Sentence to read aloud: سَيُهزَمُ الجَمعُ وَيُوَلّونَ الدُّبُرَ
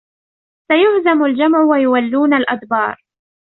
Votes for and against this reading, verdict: 1, 2, rejected